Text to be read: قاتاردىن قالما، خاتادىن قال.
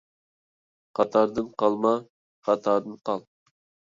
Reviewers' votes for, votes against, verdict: 2, 0, accepted